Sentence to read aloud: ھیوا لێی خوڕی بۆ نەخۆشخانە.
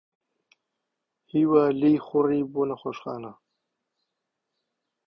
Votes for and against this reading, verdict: 2, 3, rejected